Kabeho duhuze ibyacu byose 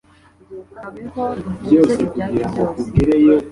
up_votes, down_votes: 2, 0